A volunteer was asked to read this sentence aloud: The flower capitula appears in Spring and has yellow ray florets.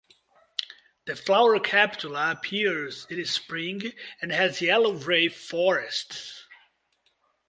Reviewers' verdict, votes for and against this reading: rejected, 1, 2